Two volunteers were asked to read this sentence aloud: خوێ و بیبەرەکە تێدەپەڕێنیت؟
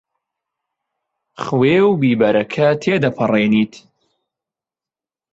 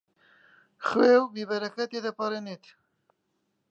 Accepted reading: first